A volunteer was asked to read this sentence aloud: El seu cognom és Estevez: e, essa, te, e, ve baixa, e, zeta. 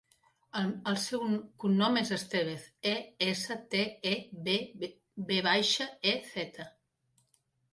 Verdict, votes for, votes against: rejected, 0, 2